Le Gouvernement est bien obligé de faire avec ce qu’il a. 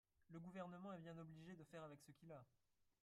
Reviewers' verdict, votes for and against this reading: rejected, 0, 4